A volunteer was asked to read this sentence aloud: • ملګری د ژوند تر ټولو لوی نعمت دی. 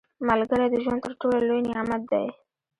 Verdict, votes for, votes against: rejected, 1, 2